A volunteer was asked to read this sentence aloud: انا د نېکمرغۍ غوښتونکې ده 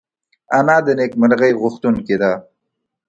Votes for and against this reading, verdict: 2, 0, accepted